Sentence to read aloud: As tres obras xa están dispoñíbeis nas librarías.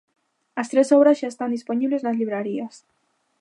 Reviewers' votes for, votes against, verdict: 1, 2, rejected